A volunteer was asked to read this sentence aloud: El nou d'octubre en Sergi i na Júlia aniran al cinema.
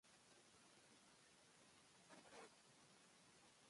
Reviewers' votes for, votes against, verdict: 0, 2, rejected